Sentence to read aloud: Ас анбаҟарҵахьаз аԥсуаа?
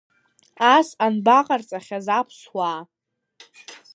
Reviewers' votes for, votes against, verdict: 2, 1, accepted